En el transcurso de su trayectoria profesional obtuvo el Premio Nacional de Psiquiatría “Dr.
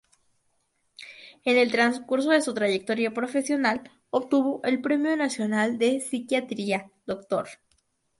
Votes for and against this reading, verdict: 2, 0, accepted